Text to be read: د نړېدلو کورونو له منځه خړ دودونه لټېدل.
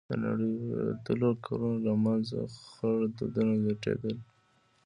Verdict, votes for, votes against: rejected, 1, 2